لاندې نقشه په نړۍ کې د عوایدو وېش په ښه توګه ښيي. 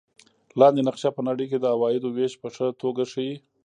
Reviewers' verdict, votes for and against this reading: rejected, 1, 2